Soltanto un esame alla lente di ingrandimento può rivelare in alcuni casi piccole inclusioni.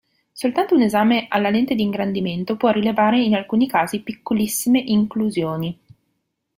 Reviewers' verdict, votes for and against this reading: rejected, 0, 2